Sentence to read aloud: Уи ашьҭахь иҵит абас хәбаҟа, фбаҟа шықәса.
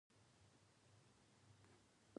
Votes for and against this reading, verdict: 1, 2, rejected